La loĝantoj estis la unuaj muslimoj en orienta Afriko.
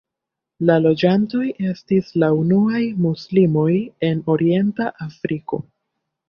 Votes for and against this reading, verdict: 0, 2, rejected